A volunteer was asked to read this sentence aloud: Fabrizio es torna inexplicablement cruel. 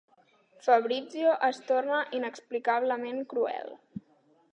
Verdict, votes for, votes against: accepted, 3, 0